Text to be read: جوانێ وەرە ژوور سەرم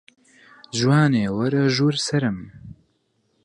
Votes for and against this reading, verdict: 4, 0, accepted